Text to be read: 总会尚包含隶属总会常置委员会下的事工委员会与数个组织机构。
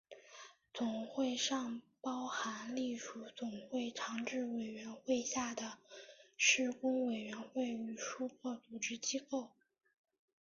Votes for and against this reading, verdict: 2, 0, accepted